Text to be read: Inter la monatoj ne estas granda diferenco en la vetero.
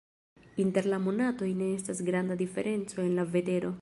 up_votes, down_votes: 2, 0